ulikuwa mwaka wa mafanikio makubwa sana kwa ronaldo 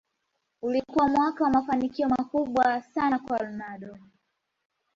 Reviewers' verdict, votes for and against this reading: accepted, 2, 1